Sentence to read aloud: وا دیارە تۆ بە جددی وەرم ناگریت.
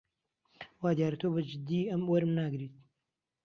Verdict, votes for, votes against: rejected, 0, 2